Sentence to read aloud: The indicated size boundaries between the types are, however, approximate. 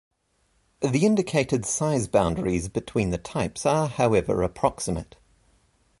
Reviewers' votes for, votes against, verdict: 2, 0, accepted